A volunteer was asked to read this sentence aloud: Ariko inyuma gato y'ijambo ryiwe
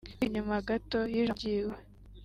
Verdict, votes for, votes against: rejected, 0, 2